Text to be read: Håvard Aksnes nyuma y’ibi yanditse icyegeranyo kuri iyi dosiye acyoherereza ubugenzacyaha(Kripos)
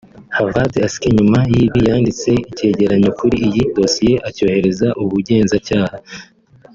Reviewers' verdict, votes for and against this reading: rejected, 0, 2